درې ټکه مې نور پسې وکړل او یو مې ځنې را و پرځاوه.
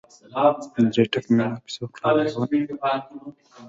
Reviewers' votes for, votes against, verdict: 2, 1, accepted